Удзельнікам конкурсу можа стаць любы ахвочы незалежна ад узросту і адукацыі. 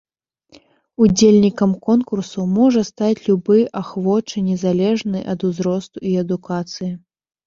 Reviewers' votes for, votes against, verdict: 1, 2, rejected